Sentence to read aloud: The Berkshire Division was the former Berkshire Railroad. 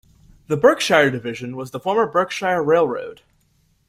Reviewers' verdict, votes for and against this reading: accepted, 2, 0